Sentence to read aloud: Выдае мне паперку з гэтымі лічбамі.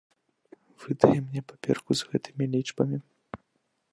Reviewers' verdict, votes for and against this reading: rejected, 1, 2